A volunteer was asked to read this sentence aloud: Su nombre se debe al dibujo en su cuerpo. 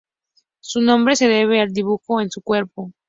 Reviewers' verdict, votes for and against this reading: accepted, 2, 0